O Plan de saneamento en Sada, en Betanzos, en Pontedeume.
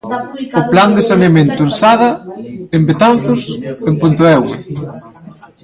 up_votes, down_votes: 1, 2